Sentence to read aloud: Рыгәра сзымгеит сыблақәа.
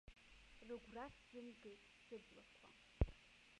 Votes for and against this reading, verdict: 0, 2, rejected